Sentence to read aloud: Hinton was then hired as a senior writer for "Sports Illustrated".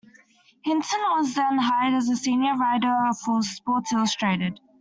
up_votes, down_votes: 2, 1